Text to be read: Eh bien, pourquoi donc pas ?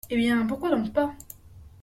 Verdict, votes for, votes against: accepted, 2, 0